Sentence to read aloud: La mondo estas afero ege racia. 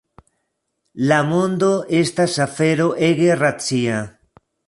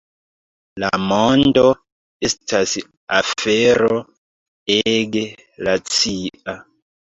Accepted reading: first